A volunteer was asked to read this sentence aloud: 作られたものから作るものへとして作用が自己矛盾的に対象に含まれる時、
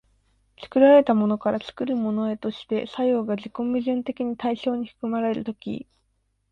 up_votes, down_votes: 2, 0